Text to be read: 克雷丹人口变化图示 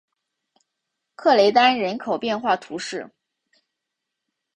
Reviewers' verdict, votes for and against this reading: accepted, 3, 0